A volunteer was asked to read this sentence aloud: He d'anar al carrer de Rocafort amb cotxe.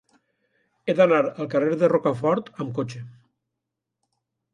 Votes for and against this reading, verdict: 2, 0, accepted